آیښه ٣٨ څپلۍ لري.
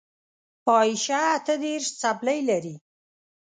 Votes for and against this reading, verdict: 0, 2, rejected